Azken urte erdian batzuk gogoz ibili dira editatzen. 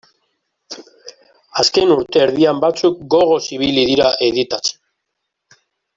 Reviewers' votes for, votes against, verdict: 0, 2, rejected